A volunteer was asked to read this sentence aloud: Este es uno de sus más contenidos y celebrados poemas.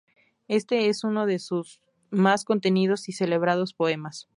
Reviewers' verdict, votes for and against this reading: accepted, 2, 0